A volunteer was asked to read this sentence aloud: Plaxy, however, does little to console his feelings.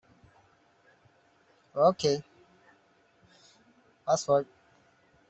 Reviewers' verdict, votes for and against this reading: rejected, 0, 2